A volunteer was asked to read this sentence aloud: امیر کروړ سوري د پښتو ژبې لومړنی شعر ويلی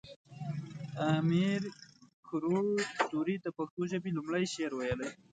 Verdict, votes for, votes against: rejected, 1, 2